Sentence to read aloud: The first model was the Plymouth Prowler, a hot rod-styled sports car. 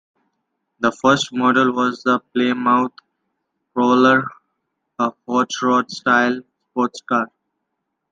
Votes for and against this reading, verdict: 2, 0, accepted